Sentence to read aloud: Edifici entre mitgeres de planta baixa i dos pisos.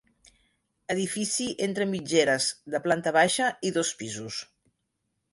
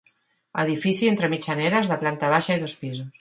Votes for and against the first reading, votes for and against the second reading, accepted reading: 2, 0, 1, 2, first